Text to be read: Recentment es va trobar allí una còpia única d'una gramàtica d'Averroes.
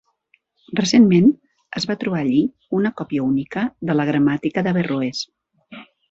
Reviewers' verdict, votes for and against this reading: rejected, 1, 2